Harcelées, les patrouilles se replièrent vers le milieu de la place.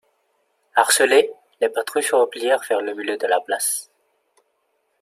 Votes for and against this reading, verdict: 2, 0, accepted